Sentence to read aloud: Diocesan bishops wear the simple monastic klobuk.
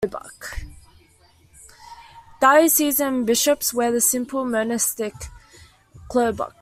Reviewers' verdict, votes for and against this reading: accepted, 2, 1